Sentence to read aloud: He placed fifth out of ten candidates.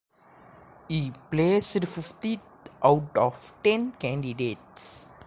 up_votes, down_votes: 0, 2